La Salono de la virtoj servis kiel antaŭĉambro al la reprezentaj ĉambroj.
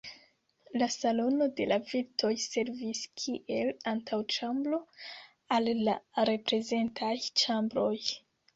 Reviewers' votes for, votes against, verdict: 2, 0, accepted